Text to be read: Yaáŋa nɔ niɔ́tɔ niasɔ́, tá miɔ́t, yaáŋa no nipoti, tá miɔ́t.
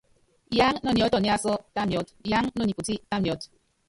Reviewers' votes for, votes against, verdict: 0, 2, rejected